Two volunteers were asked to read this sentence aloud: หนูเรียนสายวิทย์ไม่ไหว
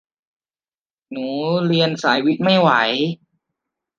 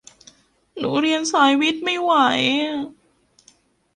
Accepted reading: first